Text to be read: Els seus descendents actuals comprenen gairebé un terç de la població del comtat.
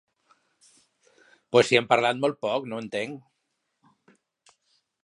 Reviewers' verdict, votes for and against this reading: rejected, 0, 2